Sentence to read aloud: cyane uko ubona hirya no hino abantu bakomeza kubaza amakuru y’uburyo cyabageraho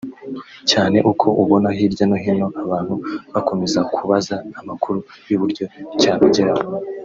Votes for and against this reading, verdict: 2, 0, accepted